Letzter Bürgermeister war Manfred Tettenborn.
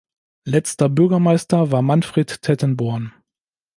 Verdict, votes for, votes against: accepted, 2, 0